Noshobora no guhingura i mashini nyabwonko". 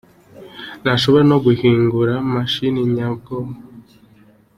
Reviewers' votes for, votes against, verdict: 2, 0, accepted